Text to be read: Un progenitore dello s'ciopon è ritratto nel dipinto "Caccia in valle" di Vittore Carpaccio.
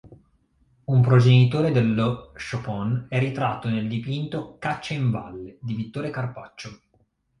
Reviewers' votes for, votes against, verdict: 2, 0, accepted